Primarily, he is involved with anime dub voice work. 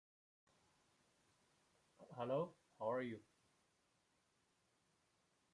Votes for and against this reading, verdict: 0, 2, rejected